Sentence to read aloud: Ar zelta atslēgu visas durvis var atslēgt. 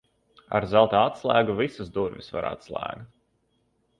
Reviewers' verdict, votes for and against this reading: accepted, 2, 0